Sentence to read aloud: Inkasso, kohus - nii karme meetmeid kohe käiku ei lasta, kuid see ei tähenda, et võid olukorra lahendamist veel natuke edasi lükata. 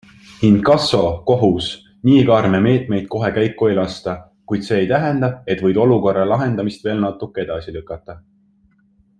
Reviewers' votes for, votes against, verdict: 2, 0, accepted